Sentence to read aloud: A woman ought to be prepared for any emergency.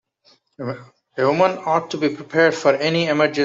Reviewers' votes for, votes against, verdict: 0, 2, rejected